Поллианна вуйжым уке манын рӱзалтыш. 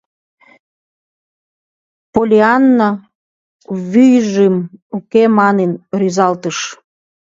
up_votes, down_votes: 1, 3